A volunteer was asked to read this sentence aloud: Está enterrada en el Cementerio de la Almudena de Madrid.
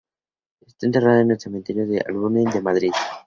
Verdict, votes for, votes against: rejected, 0, 2